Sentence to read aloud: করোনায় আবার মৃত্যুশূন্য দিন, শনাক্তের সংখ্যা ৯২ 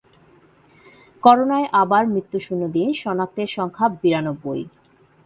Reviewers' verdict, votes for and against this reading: rejected, 0, 2